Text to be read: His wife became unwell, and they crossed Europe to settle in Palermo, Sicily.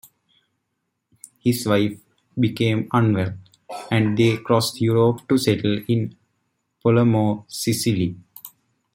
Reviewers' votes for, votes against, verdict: 1, 2, rejected